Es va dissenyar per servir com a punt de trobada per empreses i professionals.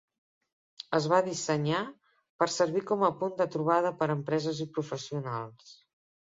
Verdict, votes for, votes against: accepted, 3, 0